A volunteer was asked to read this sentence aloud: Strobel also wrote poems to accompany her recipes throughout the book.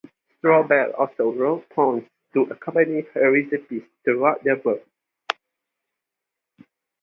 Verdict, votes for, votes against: accepted, 2, 0